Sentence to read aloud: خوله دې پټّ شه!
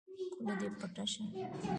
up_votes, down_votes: 1, 2